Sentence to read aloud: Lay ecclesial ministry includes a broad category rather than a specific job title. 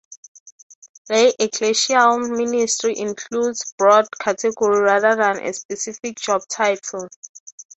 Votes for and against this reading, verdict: 0, 3, rejected